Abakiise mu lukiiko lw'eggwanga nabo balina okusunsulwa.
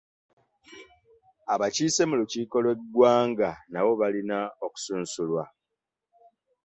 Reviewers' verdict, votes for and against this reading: accepted, 2, 1